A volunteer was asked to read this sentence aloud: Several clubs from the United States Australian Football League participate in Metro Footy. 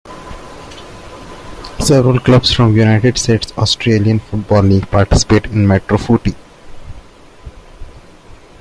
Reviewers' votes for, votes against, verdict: 2, 0, accepted